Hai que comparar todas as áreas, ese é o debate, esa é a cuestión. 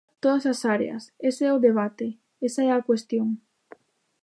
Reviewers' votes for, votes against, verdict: 0, 2, rejected